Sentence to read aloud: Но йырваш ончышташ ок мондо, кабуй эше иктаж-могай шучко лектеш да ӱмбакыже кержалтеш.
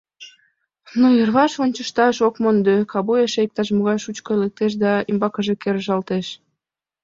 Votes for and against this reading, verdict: 2, 0, accepted